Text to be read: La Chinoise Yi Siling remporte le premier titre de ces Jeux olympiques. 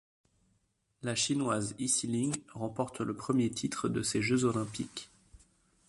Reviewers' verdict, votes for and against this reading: accepted, 2, 0